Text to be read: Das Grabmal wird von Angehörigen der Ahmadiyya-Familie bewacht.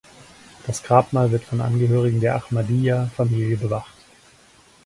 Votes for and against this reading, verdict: 4, 0, accepted